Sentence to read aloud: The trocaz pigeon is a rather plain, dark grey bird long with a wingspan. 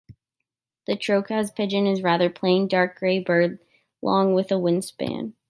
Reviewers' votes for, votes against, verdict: 0, 2, rejected